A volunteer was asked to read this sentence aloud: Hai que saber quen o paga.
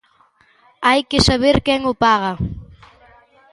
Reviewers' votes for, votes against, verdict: 2, 0, accepted